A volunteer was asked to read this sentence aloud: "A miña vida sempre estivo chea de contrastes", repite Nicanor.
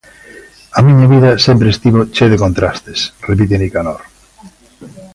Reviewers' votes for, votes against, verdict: 1, 2, rejected